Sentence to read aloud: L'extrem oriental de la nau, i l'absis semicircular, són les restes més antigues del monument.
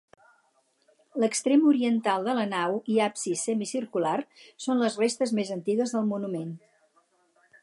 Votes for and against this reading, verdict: 2, 4, rejected